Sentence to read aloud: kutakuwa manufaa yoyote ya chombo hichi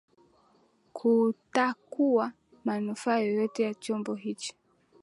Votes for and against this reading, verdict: 1, 2, rejected